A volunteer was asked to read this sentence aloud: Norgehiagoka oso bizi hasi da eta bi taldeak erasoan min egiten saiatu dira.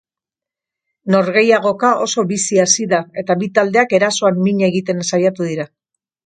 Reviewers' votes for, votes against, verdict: 2, 0, accepted